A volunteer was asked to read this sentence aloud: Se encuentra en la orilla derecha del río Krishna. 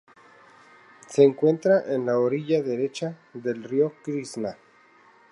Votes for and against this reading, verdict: 0, 2, rejected